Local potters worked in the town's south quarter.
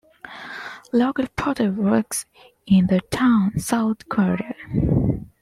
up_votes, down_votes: 1, 2